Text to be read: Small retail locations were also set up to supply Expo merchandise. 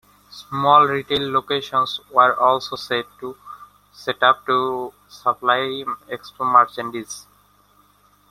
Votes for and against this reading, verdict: 0, 2, rejected